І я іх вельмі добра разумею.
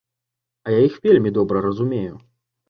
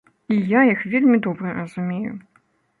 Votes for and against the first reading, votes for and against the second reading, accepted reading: 0, 2, 2, 0, second